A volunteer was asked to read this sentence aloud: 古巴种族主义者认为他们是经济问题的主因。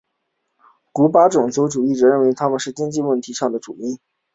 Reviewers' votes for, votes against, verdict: 2, 0, accepted